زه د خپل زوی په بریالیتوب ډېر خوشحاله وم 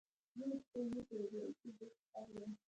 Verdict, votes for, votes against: rejected, 0, 2